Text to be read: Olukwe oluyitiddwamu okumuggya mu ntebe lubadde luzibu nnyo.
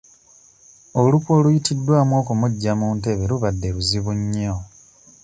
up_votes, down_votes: 2, 0